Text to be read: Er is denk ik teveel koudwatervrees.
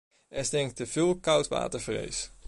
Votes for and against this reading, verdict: 1, 2, rejected